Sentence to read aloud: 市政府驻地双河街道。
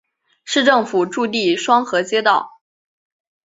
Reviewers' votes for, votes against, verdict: 2, 0, accepted